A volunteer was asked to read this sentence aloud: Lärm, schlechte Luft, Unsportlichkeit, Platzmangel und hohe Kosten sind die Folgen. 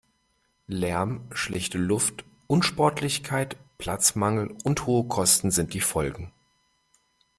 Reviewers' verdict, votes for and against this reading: accepted, 2, 0